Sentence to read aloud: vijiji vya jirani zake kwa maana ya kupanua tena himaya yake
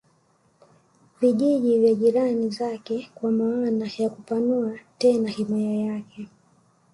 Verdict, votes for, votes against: accepted, 2, 0